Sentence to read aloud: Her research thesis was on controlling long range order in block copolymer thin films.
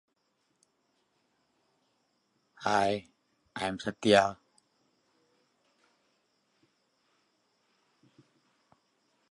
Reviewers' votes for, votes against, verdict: 1, 2, rejected